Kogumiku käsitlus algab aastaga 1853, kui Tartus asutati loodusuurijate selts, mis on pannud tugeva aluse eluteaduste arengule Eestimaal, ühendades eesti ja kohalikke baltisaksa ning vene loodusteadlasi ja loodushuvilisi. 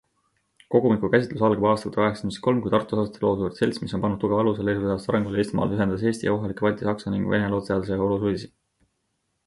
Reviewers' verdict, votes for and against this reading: rejected, 0, 2